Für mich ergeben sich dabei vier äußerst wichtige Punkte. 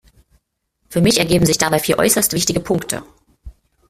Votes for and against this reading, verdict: 1, 2, rejected